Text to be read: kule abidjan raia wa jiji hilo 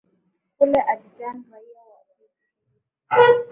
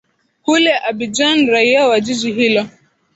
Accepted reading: second